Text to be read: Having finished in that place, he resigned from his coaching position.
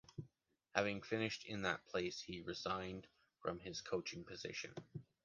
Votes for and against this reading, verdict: 2, 0, accepted